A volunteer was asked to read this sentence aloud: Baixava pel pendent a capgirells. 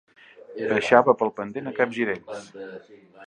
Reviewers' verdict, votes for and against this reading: rejected, 1, 2